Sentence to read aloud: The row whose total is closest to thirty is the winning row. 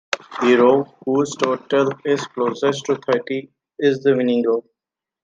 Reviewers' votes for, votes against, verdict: 2, 0, accepted